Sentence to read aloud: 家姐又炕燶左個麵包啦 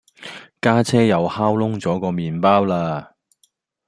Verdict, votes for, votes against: accepted, 2, 0